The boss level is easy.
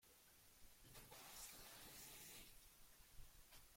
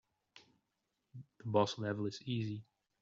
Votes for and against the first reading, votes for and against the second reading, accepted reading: 0, 2, 2, 0, second